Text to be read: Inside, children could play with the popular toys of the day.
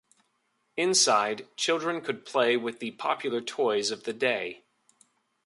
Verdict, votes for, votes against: accepted, 3, 0